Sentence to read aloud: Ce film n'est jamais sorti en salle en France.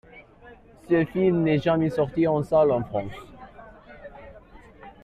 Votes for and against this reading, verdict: 2, 1, accepted